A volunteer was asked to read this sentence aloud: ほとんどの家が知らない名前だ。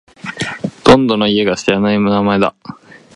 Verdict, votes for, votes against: rejected, 0, 2